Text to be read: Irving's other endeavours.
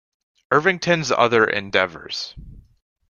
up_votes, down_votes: 0, 2